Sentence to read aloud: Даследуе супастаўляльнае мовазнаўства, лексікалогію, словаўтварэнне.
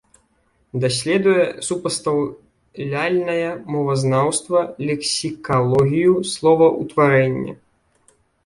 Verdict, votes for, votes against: rejected, 0, 2